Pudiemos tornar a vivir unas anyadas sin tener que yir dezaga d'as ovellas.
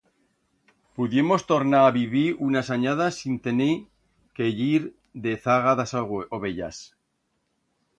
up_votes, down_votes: 1, 2